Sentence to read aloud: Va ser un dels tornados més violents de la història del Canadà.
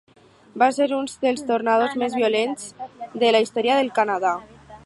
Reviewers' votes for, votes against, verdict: 6, 4, accepted